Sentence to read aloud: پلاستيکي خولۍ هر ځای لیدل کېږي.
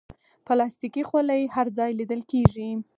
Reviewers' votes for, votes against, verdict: 4, 0, accepted